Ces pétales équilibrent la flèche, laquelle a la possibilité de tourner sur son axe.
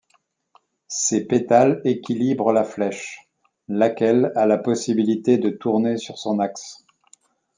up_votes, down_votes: 2, 0